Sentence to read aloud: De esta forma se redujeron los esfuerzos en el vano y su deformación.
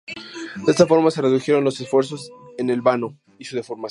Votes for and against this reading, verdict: 0, 2, rejected